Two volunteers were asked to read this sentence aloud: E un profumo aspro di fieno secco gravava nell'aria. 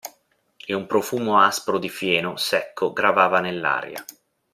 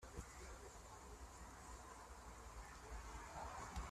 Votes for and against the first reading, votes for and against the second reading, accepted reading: 2, 0, 0, 2, first